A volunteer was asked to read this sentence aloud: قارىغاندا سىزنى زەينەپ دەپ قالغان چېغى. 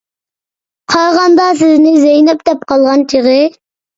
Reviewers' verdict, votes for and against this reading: rejected, 1, 2